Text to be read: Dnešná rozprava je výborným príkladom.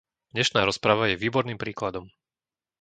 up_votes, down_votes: 2, 0